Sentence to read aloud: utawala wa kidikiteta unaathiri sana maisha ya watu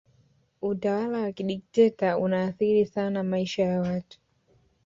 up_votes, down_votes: 2, 1